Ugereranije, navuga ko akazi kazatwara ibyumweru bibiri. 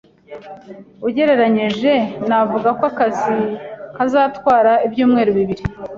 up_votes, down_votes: 2, 0